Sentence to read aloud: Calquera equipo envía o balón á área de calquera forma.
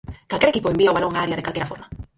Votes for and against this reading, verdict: 0, 4, rejected